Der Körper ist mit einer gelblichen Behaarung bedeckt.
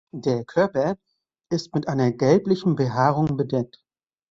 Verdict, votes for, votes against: accepted, 2, 0